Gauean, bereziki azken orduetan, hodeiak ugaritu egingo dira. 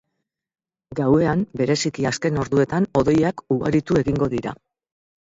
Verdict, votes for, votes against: accepted, 4, 0